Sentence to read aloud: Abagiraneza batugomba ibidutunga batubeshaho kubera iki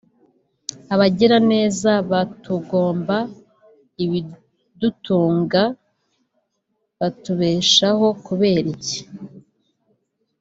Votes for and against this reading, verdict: 2, 0, accepted